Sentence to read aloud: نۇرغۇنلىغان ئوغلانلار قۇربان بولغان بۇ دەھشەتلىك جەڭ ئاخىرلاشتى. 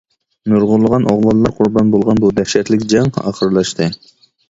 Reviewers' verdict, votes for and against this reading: accepted, 2, 0